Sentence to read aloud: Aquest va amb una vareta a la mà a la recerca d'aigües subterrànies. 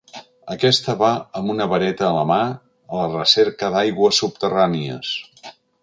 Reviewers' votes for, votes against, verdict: 1, 2, rejected